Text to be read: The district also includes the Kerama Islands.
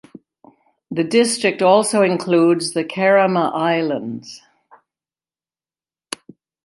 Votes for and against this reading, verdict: 2, 0, accepted